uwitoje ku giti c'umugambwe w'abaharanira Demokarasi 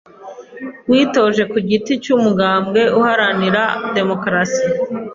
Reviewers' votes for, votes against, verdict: 2, 1, accepted